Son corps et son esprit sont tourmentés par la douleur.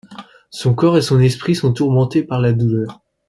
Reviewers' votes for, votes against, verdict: 2, 0, accepted